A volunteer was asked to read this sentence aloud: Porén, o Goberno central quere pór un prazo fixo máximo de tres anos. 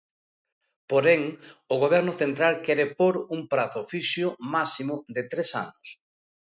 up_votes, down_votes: 2, 0